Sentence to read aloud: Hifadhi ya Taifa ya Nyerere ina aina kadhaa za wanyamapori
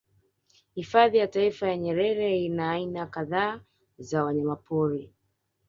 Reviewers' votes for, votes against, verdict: 1, 2, rejected